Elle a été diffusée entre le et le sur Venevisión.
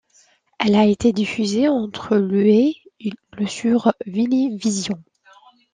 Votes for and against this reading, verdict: 2, 1, accepted